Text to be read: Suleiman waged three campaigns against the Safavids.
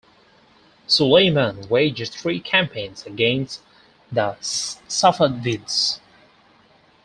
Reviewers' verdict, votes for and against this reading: rejected, 0, 4